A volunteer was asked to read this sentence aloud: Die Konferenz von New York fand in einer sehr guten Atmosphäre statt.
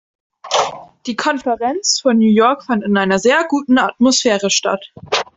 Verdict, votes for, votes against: accepted, 2, 0